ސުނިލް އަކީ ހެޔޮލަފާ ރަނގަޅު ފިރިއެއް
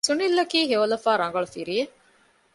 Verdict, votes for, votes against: accepted, 2, 0